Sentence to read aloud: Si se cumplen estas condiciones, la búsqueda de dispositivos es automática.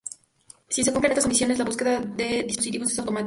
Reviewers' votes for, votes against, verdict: 2, 0, accepted